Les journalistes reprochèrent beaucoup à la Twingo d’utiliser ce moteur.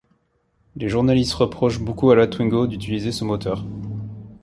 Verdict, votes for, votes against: rejected, 1, 2